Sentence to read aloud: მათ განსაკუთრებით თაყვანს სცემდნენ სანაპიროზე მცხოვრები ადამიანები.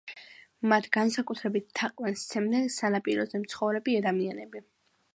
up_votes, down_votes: 2, 0